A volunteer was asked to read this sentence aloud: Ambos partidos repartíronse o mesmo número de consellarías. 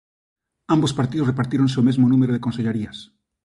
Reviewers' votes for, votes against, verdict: 2, 0, accepted